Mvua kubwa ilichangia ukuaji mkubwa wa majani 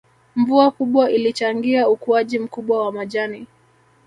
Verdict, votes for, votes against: accepted, 2, 1